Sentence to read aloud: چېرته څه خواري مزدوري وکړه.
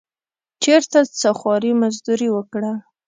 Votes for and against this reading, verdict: 2, 0, accepted